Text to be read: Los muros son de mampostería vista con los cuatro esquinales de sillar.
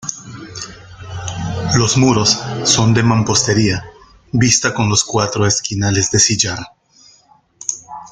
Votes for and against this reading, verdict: 1, 2, rejected